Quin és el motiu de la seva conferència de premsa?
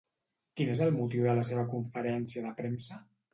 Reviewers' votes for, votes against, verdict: 2, 0, accepted